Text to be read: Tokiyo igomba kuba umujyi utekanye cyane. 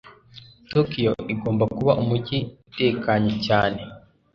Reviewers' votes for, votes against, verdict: 2, 0, accepted